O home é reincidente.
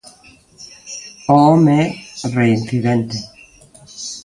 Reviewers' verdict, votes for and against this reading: rejected, 0, 2